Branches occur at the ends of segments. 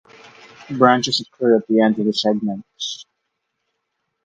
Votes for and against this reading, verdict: 2, 4, rejected